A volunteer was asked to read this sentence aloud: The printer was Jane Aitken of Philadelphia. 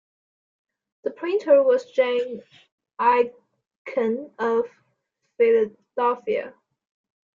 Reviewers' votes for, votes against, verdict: 0, 2, rejected